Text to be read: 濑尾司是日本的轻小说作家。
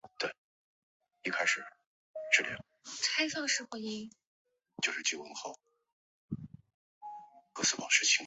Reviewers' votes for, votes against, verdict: 0, 3, rejected